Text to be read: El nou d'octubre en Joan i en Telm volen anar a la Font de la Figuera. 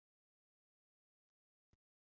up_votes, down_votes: 0, 2